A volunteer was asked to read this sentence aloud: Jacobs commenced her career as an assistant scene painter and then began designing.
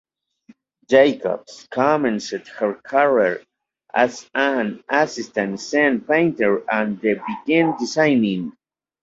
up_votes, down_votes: 1, 3